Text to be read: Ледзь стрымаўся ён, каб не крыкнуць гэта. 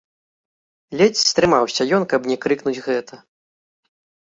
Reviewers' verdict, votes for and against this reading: accepted, 3, 0